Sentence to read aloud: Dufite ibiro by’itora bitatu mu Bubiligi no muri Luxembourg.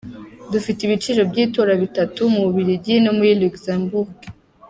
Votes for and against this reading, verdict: 0, 2, rejected